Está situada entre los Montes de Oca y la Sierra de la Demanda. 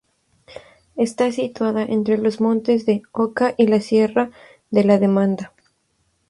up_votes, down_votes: 0, 2